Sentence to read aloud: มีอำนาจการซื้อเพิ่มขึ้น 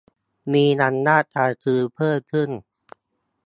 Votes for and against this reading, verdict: 2, 0, accepted